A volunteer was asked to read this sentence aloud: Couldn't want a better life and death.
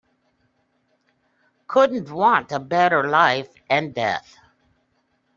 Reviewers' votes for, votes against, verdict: 3, 0, accepted